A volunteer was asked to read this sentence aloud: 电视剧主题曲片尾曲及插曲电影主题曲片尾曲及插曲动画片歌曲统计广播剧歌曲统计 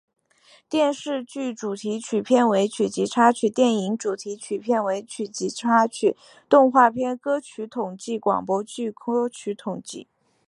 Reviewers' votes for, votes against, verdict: 2, 1, accepted